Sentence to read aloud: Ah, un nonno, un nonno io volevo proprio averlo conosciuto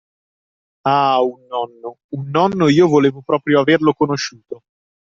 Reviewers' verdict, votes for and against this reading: rejected, 0, 2